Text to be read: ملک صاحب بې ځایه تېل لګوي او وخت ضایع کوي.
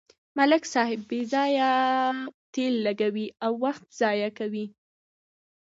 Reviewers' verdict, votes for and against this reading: accepted, 2, 0